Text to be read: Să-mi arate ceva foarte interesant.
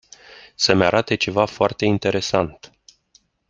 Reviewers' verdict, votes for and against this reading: accepted, 2, 0